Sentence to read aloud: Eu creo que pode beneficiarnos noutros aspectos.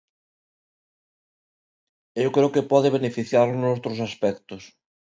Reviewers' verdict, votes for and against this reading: rejected, 1, 2